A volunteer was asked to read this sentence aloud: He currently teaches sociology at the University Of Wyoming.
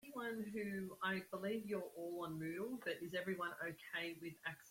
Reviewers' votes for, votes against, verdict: 0, 2, rejected